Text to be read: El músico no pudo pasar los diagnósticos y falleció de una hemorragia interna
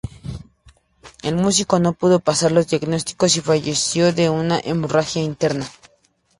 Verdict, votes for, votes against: accepted, 2, 0